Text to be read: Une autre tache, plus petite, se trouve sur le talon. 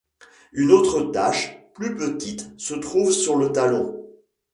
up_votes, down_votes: 2, 0